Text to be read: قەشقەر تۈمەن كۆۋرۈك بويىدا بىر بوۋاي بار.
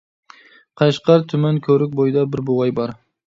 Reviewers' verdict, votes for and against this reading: accepted, 2, 0